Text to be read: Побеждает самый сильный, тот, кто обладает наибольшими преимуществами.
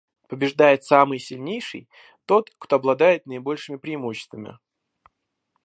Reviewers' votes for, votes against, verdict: 0, 2, rejected